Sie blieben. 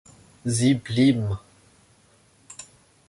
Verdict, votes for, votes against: rejected, 1, 2